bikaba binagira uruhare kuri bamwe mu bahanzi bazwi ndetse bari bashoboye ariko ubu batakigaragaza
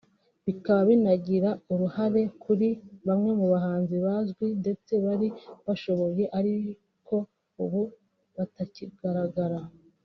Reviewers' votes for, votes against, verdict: 1, 2, rejected